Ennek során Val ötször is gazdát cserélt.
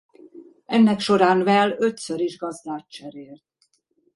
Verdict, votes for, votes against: rejected, 1, 2